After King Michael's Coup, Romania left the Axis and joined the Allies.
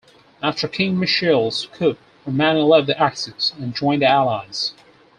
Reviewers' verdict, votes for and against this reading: rejected, 2, 4